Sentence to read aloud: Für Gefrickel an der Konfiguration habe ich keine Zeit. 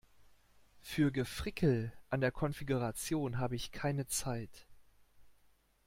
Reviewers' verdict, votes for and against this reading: accepted, 2, 0